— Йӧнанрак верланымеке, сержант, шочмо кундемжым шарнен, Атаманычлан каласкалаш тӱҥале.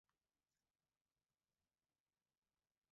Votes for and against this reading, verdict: 0, 3, rejected